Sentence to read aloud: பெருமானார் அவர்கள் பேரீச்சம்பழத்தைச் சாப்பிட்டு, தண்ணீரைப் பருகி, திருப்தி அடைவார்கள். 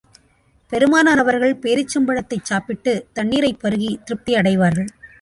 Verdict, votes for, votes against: accepted, 2, 0